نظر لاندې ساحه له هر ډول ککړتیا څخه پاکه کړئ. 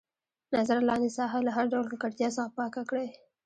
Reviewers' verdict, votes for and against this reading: rejected, 1, 2